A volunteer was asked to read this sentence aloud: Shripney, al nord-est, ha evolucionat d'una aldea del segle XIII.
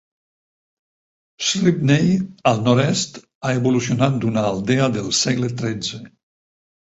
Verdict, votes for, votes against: rejected, 2, 4